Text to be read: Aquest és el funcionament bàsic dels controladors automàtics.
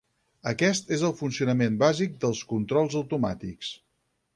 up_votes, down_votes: 0, 4